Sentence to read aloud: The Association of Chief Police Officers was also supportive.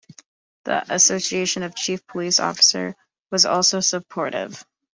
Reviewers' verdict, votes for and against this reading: rejected, 0, 2